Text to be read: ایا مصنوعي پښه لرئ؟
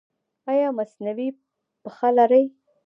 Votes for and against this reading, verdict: 1, 2, rejected